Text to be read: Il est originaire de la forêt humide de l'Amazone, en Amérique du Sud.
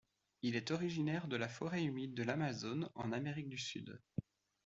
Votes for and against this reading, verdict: 2, 1, accepted